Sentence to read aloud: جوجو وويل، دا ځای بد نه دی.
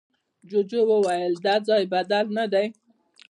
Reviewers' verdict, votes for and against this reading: rejected, 0, 2